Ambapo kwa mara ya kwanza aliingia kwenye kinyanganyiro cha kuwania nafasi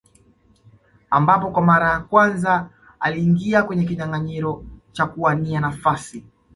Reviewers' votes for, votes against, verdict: 2, 0, accepted